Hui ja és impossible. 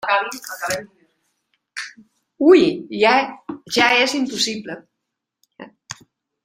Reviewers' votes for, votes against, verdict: 0, 2, rejected